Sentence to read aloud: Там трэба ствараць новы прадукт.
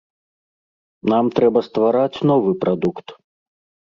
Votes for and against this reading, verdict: 1, 2, rejected